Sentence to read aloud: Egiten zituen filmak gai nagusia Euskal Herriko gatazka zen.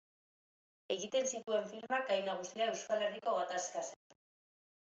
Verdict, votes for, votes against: accepted, 2, 0